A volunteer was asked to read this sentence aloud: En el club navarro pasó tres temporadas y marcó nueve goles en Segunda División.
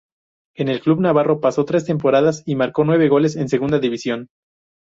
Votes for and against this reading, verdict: 2, 0, accepted